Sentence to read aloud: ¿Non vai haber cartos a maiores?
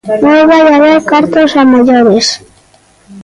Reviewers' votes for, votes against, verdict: 0, 2, rejected